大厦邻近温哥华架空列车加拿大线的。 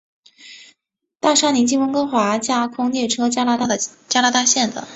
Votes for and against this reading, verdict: 0, 2, rejected